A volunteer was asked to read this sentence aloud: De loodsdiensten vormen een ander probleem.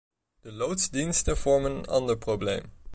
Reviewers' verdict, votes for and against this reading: rejected, 1, 2